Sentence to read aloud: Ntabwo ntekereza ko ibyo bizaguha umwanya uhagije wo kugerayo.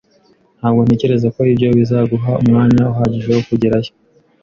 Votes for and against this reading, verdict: 2, 0, accepted